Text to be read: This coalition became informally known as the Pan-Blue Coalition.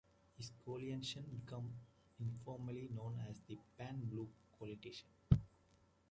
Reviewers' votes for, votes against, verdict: 2, 0, accepted